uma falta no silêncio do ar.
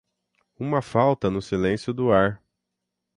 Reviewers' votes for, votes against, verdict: 6, 0, accepted